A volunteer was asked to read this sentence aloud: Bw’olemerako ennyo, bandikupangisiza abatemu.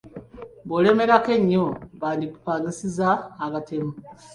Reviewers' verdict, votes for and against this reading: accepted, 2, 0